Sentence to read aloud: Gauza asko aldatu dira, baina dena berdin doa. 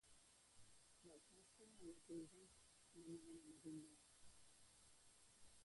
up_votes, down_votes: 0, 2